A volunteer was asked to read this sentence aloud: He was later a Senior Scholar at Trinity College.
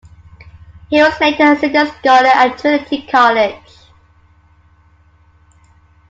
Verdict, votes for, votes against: rejected, 1, 2